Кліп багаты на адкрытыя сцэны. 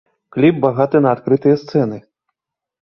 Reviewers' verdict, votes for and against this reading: accepted, 2, 0